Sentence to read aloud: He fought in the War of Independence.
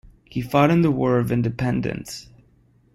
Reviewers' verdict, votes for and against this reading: accepted, 2, 0